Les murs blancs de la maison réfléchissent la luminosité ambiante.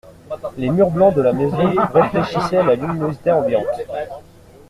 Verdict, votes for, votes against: rejected, 1, 2